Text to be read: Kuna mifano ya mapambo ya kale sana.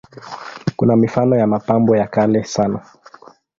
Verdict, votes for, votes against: accepted, 2, 0